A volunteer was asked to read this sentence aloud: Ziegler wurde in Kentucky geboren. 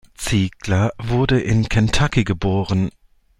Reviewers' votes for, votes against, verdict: 2, 0, accepted